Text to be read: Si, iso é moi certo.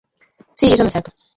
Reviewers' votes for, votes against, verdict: 0, 2, rejected